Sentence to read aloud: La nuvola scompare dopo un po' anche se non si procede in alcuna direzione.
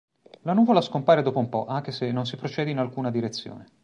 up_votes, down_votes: 3, 0